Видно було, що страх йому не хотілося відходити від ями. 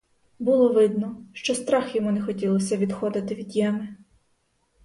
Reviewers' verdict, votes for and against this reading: rejected, 2, 4